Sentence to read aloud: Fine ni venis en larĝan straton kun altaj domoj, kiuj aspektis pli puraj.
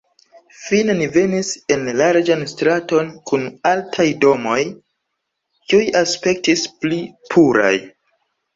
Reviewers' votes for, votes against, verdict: 2, 1, accepted